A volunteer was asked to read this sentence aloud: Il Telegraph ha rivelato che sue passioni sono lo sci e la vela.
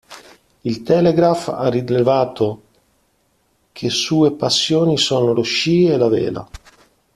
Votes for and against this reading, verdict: 1, 2, rejected